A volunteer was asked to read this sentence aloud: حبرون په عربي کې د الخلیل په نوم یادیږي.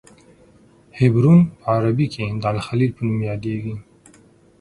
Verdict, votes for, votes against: accepted, 6, 0